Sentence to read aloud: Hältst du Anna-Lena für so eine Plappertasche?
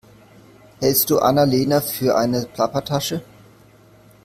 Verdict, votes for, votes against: rejected, 0, 2